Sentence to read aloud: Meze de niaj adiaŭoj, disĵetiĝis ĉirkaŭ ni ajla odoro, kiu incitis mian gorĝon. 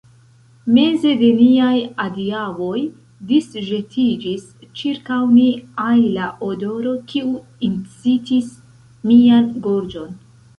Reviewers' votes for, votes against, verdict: 1, 2, rejected